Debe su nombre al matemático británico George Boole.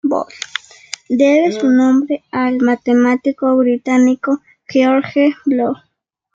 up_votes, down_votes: 1, 2